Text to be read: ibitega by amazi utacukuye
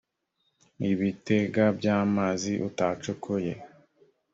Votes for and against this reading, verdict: 2, 0, accepted